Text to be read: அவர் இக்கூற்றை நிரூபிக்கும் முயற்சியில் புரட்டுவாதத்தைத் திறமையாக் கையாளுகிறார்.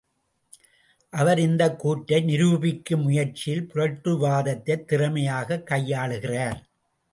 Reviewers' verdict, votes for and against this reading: accepted, 2, 0